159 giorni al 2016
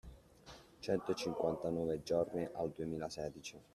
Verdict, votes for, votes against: rejected, 0, 2